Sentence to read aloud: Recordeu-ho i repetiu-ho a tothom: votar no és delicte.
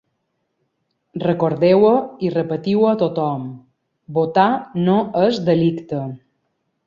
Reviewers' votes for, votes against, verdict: 2, 0, accepted